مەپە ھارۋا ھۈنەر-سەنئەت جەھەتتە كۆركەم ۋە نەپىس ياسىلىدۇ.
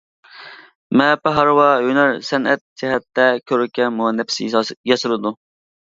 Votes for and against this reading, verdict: 0, 2, rejected